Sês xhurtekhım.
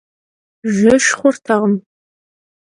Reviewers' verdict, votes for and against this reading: rejected, 1, 2